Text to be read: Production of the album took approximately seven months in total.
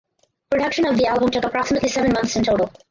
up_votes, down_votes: 0, 4